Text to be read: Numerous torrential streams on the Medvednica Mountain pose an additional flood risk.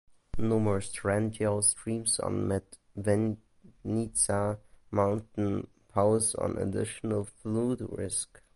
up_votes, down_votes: 1, 2